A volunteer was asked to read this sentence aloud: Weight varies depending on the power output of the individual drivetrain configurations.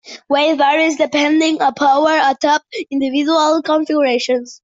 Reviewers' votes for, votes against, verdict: 0, 2, rejected